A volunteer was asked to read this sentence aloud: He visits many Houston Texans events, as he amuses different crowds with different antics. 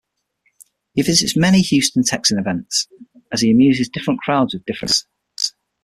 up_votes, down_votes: 3, 6